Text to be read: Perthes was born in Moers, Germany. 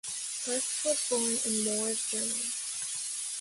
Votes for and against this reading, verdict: 1, 2, rejected